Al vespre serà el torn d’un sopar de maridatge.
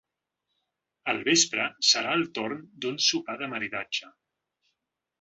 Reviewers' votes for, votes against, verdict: 2, 0, accepted